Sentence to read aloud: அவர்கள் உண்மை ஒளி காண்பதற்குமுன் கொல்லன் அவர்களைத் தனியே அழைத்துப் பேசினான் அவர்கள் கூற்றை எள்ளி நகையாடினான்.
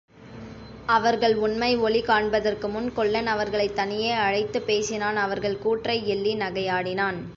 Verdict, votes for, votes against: accepted, 2, 0